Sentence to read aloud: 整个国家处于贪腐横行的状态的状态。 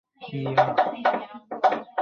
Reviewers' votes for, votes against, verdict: 0, 4, rejected